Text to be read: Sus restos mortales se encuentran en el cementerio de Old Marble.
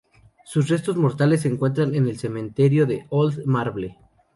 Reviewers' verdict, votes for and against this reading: rejected, 0, 2